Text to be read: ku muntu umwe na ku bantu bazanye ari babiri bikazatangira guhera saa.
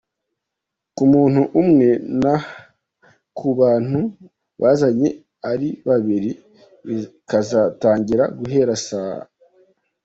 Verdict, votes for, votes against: rejected, 0, 2